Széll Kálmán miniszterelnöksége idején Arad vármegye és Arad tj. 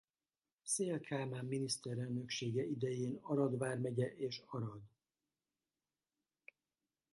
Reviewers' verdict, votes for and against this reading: rejected, 0, 2